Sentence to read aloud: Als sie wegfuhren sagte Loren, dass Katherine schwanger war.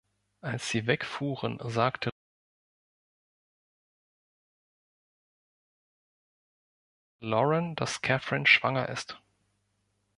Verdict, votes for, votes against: rejected, 0, 3